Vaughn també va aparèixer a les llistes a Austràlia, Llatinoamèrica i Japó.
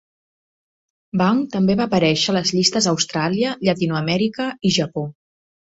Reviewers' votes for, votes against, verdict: 2, 0, accepted